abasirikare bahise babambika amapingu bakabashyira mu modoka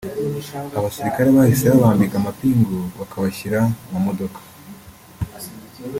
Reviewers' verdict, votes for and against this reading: accepted, 2, 0